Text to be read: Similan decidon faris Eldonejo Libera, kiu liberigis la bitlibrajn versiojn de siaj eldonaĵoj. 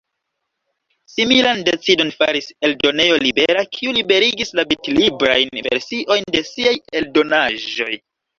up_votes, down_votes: 2, 0